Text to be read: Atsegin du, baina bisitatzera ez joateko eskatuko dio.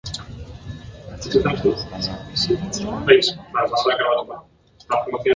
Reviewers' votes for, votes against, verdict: 0, 2, rejected